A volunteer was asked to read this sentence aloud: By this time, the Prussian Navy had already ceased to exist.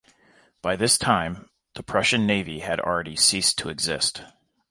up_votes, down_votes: 2, 0